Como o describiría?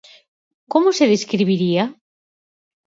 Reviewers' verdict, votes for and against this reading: rejected, 0, 4